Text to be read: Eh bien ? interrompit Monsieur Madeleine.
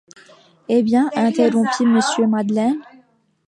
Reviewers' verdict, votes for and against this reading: accepted, 2, 1